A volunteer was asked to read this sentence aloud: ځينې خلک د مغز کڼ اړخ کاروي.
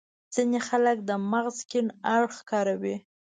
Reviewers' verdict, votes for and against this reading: accepted, 2, 0